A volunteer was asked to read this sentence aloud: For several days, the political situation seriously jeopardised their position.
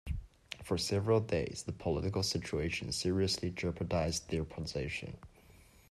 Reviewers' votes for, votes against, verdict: 2, 0, accepted